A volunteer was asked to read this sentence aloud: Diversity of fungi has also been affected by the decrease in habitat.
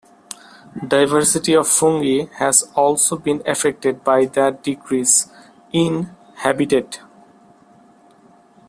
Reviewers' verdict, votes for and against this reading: rejected, 0, 3